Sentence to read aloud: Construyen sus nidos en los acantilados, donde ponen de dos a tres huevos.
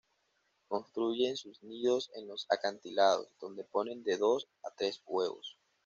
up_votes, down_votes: 2, 0